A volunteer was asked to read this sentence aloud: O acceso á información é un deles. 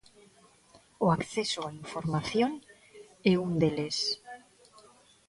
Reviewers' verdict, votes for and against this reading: rejected, 0, 2